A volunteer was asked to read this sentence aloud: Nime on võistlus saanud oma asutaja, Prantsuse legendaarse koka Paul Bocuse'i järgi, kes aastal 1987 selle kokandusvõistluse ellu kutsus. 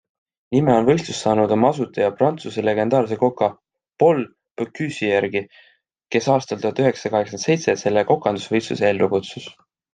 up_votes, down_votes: 0, 2